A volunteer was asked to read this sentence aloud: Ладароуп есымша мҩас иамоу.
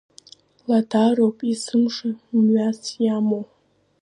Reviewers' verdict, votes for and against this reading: accepted, 2, 0